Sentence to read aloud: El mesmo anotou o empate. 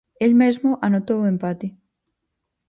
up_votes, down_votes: 4, 0